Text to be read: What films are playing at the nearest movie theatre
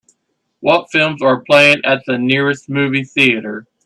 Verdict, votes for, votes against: accepted, 4, 0